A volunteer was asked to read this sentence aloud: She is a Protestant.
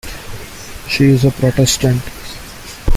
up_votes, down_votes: 2, 0